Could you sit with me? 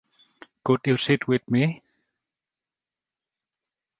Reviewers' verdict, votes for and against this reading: accepted, 2, 0